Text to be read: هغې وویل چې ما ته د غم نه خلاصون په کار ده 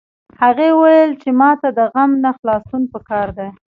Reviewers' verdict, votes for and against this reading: rejected, 0, 2